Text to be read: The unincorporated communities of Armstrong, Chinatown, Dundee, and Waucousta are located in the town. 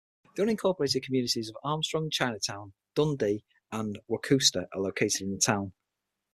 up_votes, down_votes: 3, 6